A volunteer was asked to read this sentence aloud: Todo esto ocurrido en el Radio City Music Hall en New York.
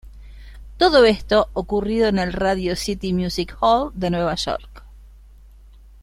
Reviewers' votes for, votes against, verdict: 1, 2, rejected